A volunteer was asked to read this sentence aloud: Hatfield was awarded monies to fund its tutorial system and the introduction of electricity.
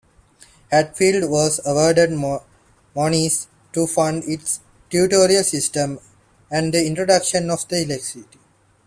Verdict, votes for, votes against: rejected, 1, 2